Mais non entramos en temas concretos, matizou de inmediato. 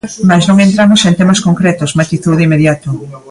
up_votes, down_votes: 2, 1